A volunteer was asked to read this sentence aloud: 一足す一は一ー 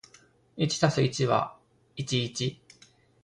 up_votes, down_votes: 2, 1